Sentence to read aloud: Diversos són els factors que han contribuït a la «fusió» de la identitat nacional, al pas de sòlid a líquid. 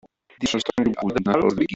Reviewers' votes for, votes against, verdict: 0, 2, rejected